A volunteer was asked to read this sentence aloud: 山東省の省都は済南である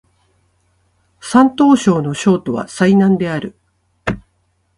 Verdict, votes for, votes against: accepted, 2, 0